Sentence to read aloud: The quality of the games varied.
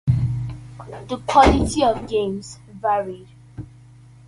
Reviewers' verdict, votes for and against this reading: accepted, 2, 0